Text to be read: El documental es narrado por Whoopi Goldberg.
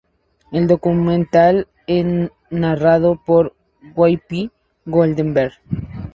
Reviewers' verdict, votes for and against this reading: accepted, 2, 0